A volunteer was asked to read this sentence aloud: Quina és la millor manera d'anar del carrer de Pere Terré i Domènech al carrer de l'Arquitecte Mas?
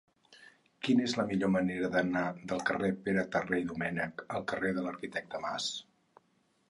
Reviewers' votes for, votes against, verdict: 2, 4, rejected